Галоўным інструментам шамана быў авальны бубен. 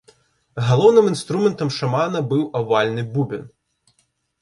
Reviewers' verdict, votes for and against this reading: rejected, 0, 2